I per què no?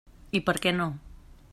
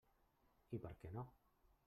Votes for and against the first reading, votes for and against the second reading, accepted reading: 3, 0, 1, 2, first